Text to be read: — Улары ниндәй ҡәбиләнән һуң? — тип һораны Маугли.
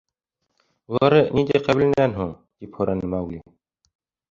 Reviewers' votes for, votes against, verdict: 1, 2, rejected